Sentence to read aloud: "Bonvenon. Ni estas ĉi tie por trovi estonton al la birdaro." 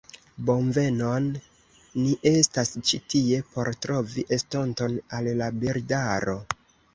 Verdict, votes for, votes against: accepted, 2, 0